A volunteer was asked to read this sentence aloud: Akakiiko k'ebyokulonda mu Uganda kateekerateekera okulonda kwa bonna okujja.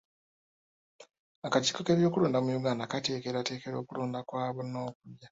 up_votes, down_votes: 2, 0